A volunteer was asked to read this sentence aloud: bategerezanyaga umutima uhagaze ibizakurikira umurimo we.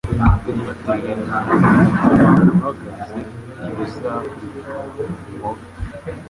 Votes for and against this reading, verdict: 0, 3, rejected